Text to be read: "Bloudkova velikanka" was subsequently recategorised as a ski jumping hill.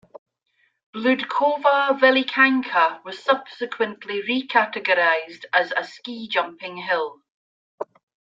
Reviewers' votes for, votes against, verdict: 2, 0, accepted